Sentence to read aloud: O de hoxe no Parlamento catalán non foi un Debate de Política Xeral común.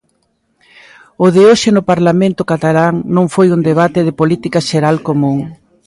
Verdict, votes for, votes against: accepted, 2, 0